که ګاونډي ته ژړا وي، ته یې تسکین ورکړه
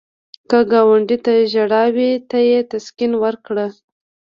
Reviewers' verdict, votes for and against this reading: rejected, 0, 2